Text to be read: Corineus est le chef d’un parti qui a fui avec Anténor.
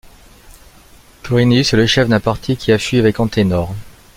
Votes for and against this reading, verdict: 1, 2, rejected